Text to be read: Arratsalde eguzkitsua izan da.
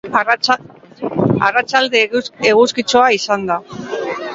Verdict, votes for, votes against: rejected, 0, 2